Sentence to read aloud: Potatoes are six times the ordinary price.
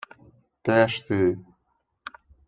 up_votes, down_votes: 0, 2